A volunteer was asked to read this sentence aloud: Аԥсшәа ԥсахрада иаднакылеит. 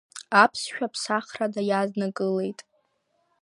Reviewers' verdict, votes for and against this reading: accepted, 2, 0